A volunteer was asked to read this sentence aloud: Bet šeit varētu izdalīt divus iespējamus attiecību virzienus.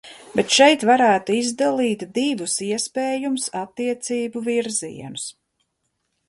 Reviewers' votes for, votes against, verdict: 1, 2, rejected